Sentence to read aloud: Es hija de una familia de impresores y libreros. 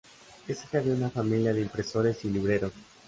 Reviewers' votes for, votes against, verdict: 2, 0, accepted